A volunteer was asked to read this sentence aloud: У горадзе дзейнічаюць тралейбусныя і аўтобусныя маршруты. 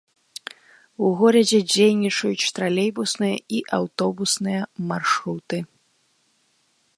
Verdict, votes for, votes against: accepted, 2, 0